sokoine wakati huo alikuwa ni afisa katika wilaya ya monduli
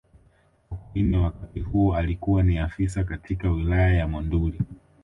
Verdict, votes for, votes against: rejected, 1, 2